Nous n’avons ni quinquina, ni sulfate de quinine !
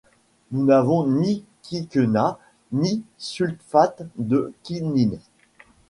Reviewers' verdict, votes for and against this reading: rejected, 1, 2